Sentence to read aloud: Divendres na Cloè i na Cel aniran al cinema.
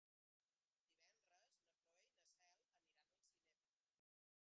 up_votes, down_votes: 0, 2